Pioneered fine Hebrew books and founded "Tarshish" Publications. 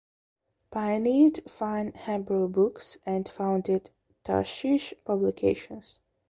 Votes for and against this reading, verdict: 0, 2, rejected